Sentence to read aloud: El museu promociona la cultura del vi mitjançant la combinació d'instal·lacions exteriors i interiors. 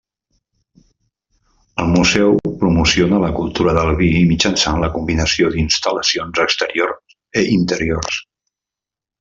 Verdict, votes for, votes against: rejected, 1, 2